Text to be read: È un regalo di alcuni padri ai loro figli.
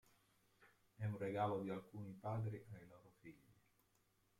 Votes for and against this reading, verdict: 0, 2, rejected